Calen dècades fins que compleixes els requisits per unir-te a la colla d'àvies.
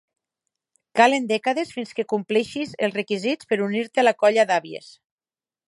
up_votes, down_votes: 0, 4